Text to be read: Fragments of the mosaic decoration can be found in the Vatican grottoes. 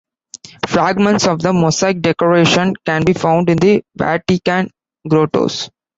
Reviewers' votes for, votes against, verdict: 1, 2, rejected